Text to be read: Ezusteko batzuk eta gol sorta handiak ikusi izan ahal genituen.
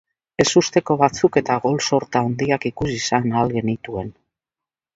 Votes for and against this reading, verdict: 2, 0, accepted